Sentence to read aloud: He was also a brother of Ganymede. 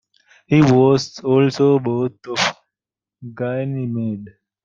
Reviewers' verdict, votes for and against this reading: rejected, 0, 2